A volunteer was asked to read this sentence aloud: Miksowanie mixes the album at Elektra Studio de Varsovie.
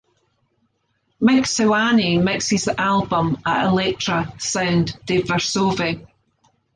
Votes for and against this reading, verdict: 1, 2, rejected